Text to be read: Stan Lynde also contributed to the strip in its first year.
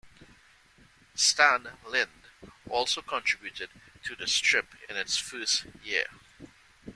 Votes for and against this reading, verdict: 2, 0, accepted